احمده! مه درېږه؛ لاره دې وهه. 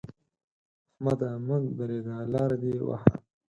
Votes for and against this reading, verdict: 4, 0, accepted